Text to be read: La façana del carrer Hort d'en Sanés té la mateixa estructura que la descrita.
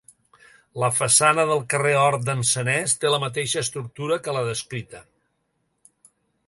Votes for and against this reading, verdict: 2, 0, accepted